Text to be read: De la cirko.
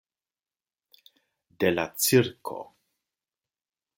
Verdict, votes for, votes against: accepted, 2, 0